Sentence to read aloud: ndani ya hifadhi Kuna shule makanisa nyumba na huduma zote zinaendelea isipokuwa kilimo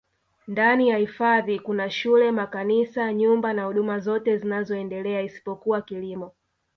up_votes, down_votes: 1, 2